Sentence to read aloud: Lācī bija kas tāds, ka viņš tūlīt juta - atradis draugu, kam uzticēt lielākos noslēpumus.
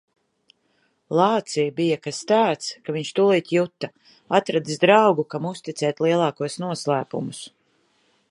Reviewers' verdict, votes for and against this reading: accepted, 2, 0